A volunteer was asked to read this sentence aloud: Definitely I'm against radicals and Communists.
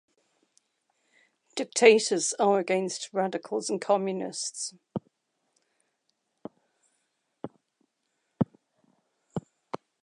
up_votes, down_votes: 1, 2